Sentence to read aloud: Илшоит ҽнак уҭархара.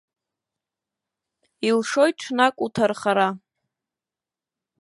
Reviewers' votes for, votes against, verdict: 0, 2, rejected